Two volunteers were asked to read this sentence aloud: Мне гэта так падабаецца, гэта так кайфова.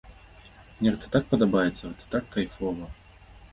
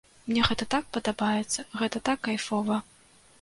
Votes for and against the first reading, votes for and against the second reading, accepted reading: 1, 2, 2, 0, second